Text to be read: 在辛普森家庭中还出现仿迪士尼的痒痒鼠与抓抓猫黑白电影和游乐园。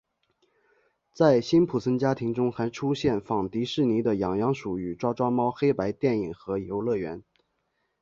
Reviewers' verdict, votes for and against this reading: accepted, 3, 0